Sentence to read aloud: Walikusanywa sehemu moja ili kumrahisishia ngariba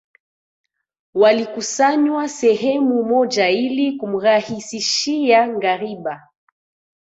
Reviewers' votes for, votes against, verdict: 2, 1, accepted